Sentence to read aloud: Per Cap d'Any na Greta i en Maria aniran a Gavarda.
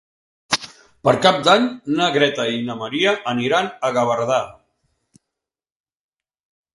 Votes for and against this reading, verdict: 2, 3, rejected